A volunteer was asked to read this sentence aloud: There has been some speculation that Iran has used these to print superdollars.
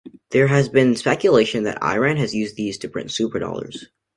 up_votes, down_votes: 0, 2